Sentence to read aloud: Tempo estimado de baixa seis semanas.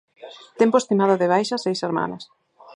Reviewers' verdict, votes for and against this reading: accepted, 4, 0